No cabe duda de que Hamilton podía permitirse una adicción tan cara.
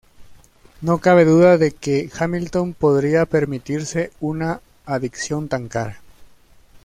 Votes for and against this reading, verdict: 0, 2, rejected